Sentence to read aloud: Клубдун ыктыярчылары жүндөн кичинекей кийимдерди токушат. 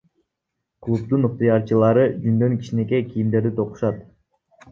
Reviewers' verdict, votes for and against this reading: accepted, 2, 0